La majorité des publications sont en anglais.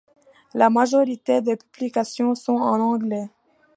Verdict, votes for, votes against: rejected, 1, 2